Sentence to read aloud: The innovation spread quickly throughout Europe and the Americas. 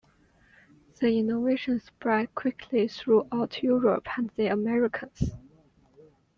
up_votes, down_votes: 2, 0